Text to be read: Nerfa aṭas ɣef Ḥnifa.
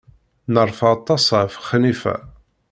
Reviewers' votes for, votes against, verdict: 0, 2, rejected